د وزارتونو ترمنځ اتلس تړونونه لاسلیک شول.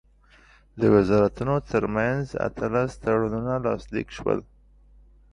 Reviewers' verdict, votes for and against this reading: accepted, 2, 0